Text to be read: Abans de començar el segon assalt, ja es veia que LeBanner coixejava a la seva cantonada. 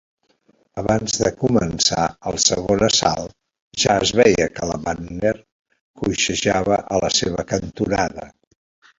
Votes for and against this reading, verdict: 2, 0, accepted